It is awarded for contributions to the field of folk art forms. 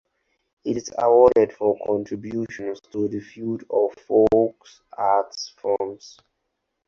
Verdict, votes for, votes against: rejected, 0, 4